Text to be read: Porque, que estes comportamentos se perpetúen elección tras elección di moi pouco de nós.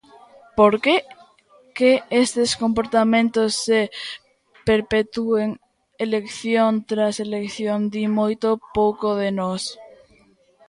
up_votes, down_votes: 0, 2